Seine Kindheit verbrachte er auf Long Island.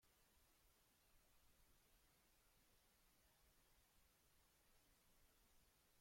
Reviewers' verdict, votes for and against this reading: rejected, 0, 2